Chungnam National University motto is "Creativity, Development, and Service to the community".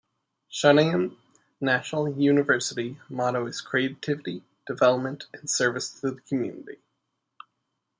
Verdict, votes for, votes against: accepted, 2, 0